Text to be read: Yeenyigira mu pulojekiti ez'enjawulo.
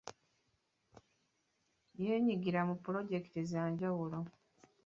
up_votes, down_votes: 1, 2